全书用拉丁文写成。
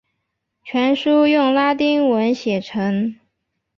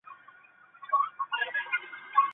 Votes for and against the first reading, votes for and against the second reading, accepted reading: 6, 0, 0, 2, first